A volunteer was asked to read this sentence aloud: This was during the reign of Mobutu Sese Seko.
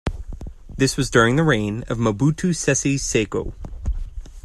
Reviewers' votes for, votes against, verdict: 2, 0, accepted